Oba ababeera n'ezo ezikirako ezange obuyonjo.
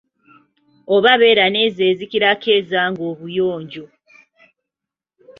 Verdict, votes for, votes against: rejected, 1, 2